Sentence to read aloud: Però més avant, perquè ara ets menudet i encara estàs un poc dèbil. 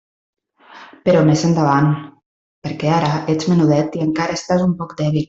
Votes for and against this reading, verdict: 0, 2, rejected